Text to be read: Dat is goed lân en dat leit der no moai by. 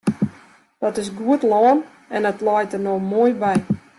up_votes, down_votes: 2, 0